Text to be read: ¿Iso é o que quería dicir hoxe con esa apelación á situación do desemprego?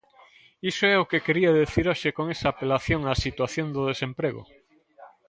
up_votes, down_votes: 0, 2